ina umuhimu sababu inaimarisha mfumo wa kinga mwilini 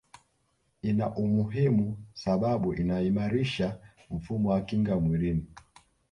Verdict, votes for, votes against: accepted, 2, 0